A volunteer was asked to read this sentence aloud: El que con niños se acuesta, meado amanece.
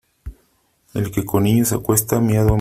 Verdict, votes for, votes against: rejected, 0, 3